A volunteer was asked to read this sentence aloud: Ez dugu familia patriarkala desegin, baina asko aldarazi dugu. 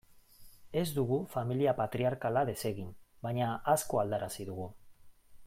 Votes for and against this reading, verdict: 2, 0, accepted